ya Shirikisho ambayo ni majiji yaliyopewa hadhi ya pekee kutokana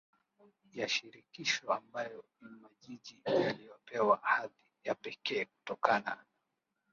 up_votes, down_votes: 0, 2